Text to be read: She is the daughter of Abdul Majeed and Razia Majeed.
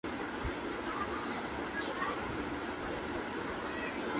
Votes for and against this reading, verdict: 0, 2, rejected